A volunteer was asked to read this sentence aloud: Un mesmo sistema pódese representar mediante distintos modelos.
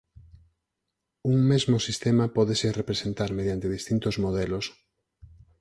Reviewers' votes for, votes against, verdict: 4, 0, accepted